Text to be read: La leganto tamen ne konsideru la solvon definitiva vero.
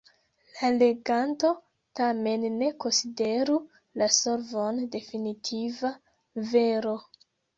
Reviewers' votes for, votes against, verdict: 2, 0, accepted